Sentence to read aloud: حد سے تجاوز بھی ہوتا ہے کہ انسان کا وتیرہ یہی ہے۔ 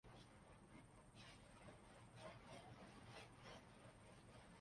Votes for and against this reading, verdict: 0, 2, rejected